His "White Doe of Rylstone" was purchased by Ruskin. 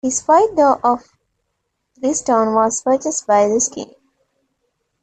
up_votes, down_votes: 2, 0